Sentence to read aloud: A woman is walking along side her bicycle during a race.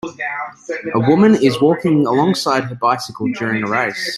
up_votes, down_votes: 1, 2